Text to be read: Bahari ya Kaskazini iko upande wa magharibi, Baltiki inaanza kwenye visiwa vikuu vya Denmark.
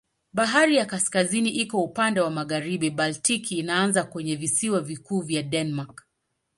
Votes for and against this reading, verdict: 2, 0, accepted